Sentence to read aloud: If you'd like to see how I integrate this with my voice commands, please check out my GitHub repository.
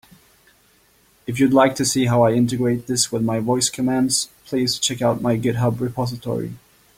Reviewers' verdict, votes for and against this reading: accepted, 2, 0